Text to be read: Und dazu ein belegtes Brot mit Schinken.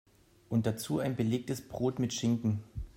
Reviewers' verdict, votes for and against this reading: accepted, 2, 0